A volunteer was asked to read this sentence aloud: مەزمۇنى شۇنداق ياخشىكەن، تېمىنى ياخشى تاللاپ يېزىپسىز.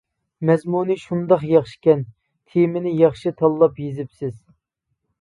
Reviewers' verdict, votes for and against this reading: accepted, 2, 0